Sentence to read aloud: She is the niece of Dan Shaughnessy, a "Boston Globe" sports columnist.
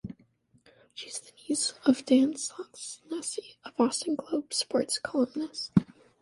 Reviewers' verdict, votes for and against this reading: rejected, 1, 2